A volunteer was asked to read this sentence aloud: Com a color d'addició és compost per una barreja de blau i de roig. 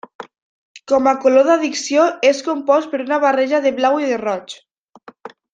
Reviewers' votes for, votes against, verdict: 1, 2, rejected